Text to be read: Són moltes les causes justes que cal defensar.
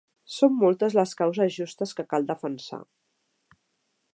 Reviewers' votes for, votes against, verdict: 3, 0, accepted